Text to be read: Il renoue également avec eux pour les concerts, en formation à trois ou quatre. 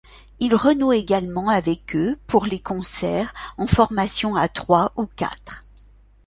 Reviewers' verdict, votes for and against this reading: accepted, 2, 0